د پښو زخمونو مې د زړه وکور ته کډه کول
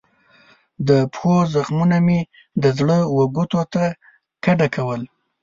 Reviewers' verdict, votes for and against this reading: rejected, 0, 2